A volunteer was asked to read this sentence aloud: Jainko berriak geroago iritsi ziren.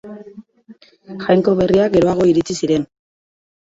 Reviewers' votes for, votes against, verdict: 4, 1, accepted